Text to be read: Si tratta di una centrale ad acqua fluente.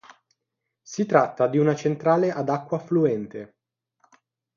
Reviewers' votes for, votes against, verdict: 6, 0, accepted